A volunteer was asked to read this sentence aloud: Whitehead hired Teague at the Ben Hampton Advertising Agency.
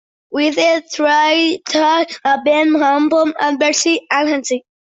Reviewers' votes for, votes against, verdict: 0, 2, rejected